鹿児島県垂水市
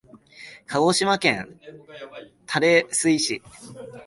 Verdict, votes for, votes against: rejected, 1, 2